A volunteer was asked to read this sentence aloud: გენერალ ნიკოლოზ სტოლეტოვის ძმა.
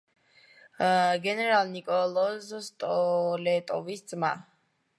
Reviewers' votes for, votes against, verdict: 1, 2, rejected